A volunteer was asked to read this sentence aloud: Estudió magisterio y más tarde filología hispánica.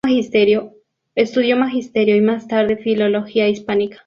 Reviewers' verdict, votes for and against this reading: rejected, 0, 2